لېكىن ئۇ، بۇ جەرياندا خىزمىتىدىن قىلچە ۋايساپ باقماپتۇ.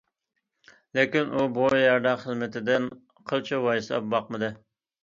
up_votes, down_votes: 0, 2